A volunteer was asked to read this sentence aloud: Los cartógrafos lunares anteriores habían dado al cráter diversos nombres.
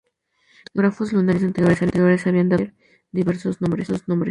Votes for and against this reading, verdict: 0, 2, rejected